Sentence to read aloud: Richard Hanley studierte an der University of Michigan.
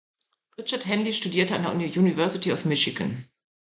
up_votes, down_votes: 0, 2